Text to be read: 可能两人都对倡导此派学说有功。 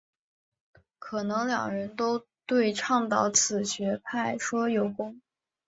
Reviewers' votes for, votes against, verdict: 2, 0, accepted